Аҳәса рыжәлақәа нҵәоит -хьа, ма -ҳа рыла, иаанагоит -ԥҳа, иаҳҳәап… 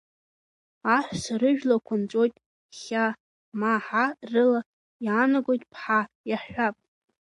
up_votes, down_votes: 1, 2